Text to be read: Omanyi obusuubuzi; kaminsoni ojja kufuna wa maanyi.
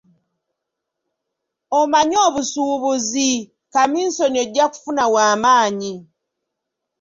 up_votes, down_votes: 2, 1